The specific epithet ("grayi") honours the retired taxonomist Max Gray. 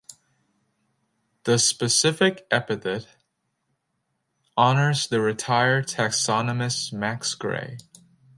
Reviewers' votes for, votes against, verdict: 0, 2, rejected